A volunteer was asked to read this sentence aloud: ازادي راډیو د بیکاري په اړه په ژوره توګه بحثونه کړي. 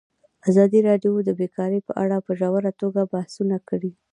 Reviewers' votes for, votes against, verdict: 2, 0, accepted